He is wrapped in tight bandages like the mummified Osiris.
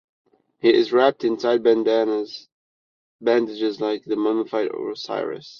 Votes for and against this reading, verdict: 0, 2, rejected